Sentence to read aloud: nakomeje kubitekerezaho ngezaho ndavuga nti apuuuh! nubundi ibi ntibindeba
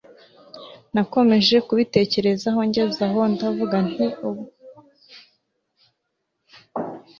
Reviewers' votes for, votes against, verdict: 1, 2, rejected